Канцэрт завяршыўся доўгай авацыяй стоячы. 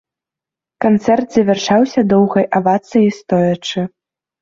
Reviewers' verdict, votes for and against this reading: rejected, 2, 3